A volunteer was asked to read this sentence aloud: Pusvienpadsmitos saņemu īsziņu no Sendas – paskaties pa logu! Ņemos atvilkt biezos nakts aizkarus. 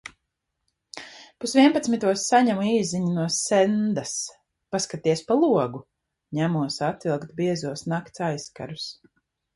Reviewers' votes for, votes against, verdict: 2, 0, accepted